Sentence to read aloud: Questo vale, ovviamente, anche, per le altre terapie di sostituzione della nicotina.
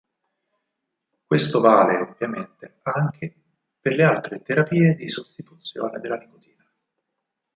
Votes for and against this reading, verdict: 4, 0, accepted